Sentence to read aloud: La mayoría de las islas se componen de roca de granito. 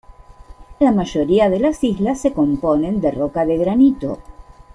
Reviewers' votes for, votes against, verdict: 2, 0, accepted